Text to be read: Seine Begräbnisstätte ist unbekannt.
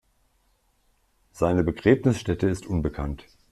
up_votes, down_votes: 2, 0